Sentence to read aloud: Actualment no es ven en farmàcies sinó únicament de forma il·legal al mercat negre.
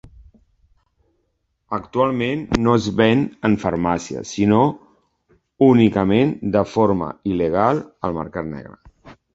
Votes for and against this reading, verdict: 2, 0, accepted